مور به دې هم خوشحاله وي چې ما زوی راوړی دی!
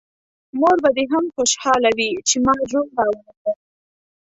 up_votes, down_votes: 0, 2